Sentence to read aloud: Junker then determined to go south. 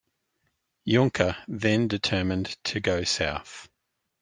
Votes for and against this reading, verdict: 1, 2, rejected